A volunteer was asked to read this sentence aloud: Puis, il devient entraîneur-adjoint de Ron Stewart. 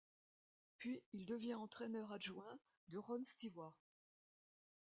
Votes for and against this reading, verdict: 2, 1, accepted